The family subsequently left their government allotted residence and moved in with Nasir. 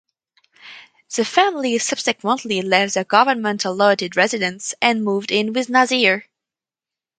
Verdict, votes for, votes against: rejected, 2, 2